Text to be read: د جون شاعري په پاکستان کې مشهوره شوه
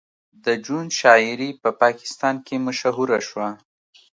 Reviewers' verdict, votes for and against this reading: accepted, 2, 0